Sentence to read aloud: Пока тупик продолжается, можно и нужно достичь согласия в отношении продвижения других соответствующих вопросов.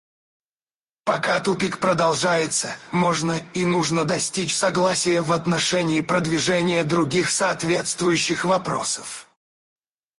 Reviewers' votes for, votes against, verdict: 0, 4, rejected